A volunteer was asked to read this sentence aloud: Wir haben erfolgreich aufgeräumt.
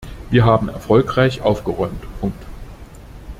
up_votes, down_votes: 0, 2